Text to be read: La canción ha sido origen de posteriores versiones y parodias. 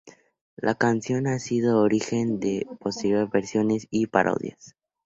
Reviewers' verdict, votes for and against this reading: accepted, 2, 0